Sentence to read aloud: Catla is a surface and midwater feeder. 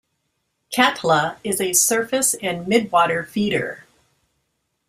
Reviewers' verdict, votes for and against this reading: rejected, 1, 2